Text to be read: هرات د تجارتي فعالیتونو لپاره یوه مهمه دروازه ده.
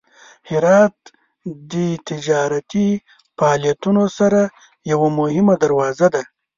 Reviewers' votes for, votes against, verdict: 0, 2, rejected